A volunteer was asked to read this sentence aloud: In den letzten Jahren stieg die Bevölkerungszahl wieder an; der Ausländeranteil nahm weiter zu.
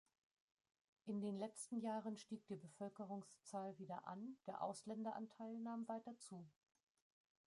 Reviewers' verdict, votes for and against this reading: rejected, 0, 2